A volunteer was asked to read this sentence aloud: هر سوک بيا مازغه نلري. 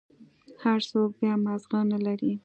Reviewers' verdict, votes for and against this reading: accepted, 2, 0